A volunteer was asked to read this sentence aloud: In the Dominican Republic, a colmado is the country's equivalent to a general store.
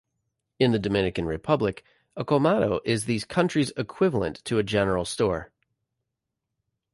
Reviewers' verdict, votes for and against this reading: rejected, 1, 2